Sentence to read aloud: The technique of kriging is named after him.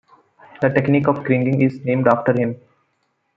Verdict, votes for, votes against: accepted, 2, 0